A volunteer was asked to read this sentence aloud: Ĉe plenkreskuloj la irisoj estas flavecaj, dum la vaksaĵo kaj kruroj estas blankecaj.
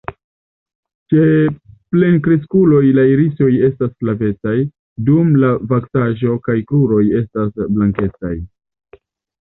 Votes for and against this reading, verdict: 2, 0, accepted